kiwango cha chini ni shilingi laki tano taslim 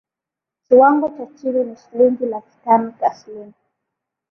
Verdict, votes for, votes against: accepted, 5, 0